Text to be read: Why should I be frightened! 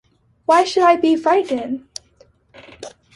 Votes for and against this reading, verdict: 2, 1, accepted